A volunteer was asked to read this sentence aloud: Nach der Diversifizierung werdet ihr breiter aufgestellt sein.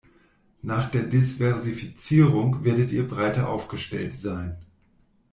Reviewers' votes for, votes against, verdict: 1, 2, rejected